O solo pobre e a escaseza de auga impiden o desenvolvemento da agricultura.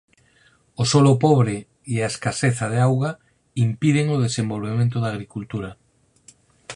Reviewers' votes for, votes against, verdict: 0, 4, rejected